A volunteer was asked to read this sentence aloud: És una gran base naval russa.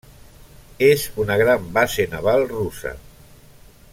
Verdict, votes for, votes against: rejected, 0, 2